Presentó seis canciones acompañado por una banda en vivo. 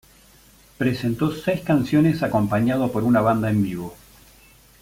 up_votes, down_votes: 2, 0